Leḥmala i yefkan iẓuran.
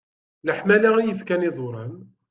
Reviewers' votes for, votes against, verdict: 2, 1, accepted